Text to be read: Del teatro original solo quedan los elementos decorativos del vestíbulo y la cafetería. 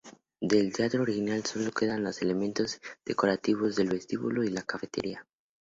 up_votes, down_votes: 4, 0